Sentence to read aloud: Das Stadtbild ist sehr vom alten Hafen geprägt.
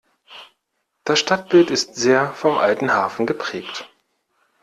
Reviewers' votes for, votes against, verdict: 2, 0, accepted